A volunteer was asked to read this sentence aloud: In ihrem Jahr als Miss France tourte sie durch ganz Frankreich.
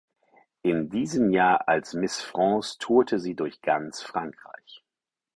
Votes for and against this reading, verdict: 2, 4, rejected